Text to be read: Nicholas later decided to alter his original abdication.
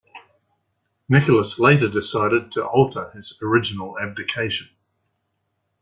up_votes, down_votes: 2, 0